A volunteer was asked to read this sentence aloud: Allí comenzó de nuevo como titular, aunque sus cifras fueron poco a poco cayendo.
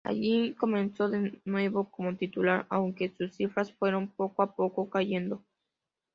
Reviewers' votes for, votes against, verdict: 2, 0, accepted